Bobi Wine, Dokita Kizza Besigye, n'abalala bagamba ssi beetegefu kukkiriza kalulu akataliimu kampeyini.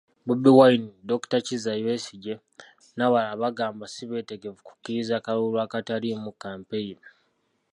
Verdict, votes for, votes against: rejected, 0, 2